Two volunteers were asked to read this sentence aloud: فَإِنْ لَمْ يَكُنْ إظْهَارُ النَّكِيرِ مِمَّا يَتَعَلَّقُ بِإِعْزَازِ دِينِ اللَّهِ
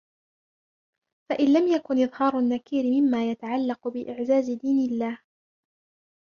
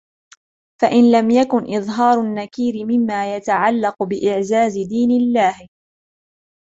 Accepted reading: second